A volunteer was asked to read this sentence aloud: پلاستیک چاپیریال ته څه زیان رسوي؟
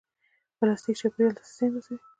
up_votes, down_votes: 1, 2